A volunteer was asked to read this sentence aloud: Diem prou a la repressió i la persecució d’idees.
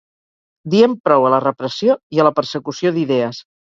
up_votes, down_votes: 2, 2